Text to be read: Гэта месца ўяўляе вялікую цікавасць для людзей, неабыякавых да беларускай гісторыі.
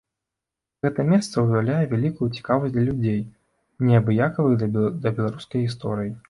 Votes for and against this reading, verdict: 0, 2, rejected